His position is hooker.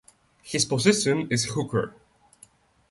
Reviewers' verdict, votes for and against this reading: accepted, 2, 0